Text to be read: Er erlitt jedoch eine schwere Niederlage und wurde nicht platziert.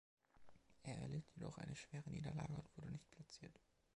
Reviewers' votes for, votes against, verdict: 2, 1, accepted